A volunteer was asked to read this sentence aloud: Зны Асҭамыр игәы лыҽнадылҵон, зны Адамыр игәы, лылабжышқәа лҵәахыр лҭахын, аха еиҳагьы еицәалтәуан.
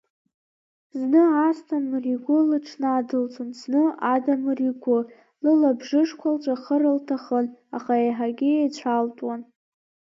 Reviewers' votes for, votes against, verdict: 2, 1, accepted